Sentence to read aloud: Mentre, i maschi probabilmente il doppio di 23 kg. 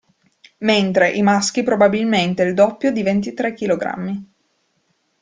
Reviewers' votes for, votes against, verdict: 0, 2, rejected